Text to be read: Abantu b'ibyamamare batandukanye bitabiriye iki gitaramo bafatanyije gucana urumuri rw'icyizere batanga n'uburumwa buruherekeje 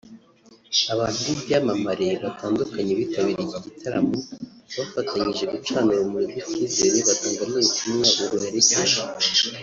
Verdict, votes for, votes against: rejected, 0, 2